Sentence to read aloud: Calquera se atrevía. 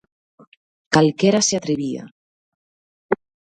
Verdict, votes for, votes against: accepted, 2, 0